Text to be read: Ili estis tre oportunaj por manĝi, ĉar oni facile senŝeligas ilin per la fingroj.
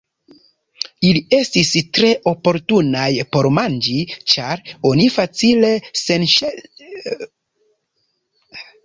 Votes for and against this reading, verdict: 0, 2, rejected